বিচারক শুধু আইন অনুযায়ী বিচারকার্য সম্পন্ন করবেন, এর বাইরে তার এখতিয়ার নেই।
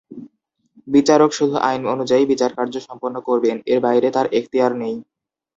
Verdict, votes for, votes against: accepted, 2, 0